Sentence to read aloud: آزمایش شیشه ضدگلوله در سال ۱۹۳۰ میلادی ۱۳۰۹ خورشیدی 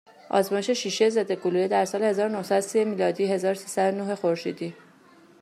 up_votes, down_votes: 0, 2